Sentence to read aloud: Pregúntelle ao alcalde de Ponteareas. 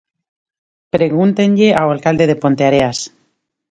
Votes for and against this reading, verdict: 0, 2, rejected